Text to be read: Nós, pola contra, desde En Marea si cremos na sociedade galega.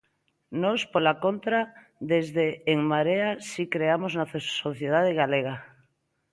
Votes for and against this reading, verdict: 0, 2, rejected